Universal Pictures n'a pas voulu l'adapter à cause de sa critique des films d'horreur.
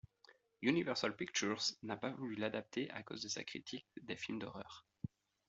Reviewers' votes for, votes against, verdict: 2, 0, accepted